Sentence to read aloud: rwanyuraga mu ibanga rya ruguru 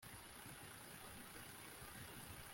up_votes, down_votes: 1, 2